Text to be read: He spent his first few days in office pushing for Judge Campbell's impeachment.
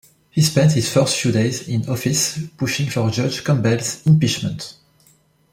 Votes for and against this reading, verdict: 2, 0, accepted